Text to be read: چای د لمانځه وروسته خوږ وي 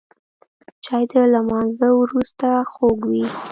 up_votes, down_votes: 2, 0